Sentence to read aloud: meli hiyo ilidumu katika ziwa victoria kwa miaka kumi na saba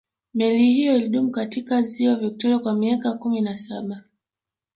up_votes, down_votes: 3, 1